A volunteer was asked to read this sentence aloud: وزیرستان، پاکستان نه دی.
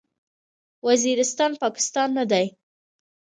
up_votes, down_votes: 2, 1